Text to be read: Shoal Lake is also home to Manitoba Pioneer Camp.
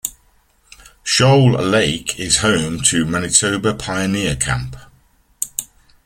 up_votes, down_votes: 0, 2